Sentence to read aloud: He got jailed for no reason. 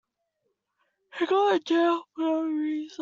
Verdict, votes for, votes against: rejected, 0, 2